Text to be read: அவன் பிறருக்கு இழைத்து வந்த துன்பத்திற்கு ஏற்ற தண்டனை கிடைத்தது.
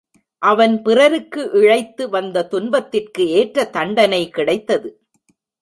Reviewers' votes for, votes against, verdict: 3, 0, accepted